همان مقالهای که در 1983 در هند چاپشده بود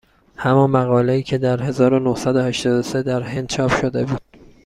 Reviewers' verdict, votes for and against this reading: rejected, 0, 2